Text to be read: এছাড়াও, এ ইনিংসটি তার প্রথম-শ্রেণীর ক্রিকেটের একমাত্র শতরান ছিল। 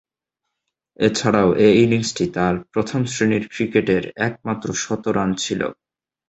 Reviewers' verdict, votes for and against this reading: accepted, 2, 0